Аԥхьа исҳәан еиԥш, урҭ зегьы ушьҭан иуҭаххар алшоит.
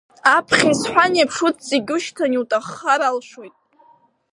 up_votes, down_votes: 1, 3